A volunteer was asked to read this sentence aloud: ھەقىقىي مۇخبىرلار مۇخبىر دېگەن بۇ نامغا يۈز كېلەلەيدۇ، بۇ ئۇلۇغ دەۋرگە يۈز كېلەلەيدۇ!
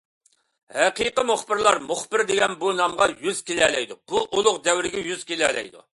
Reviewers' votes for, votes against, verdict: 2, 0, accepted